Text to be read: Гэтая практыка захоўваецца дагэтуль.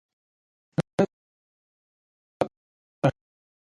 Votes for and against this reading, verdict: 0, 2, rejected